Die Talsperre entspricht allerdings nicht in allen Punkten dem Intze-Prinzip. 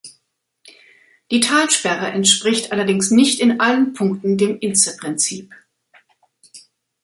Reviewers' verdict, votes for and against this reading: accepted, 2, 0